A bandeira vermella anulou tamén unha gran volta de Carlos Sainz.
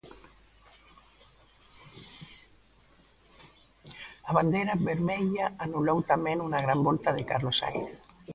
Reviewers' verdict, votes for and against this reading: rejected, 0, 2